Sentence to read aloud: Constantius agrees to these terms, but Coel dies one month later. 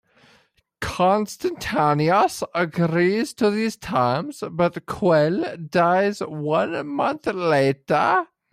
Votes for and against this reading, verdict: 0, 2, rejected